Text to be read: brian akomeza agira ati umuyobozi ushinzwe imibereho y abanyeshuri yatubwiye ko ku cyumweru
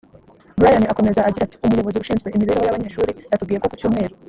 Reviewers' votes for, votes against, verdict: 0, 2, rejected